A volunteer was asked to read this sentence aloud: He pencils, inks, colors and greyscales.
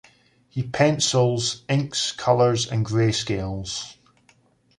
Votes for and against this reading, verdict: 2, 0, accepted